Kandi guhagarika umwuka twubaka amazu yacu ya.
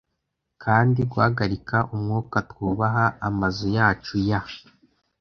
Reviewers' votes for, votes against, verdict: 1, 2, rejected